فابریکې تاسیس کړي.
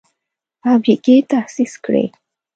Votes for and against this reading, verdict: 2, 0, accepted